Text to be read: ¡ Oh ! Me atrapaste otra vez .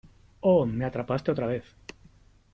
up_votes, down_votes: 2, 0